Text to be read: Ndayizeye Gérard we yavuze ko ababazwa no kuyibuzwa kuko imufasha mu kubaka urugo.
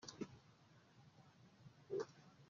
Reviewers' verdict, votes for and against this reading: rejected, 0, 2